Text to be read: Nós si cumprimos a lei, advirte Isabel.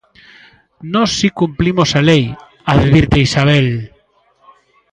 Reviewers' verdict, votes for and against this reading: rejected, 0, 2